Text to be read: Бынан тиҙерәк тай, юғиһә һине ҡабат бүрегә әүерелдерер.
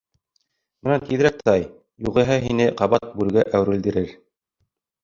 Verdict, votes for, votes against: rejected, 2, 3